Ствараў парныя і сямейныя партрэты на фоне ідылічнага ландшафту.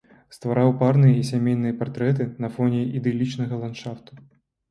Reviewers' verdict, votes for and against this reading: accepted, 2, 0